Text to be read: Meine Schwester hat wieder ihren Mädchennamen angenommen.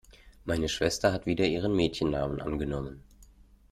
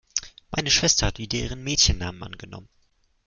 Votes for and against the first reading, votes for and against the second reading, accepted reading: 2, 0, 1, 2, first